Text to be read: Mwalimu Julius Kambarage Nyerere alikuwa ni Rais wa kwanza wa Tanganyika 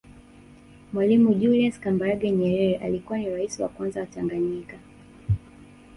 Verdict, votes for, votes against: rejected, 0, 2